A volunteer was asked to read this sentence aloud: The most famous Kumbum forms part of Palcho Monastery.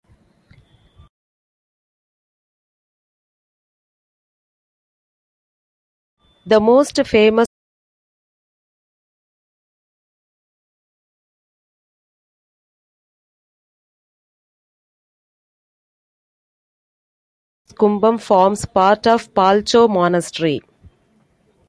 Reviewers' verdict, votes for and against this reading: rejected, 1, 2